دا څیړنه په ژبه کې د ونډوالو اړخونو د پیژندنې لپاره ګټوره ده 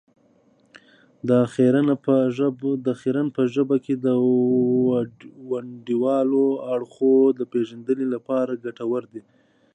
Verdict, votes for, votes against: rejected, 0, 2